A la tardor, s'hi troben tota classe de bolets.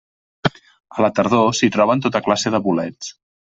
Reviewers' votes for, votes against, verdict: 3, 0, accepted